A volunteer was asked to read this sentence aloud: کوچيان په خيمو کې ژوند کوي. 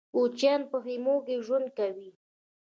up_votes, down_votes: 0, 2